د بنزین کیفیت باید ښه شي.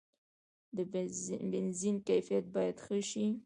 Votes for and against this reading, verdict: 0, 2, rejected